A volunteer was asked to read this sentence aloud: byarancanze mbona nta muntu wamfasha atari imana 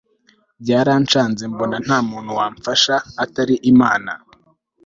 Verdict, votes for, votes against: accepted, 2, 0